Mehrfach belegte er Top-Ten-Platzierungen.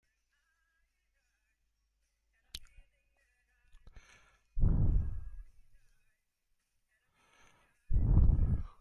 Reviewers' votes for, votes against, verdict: 0, 2, rejected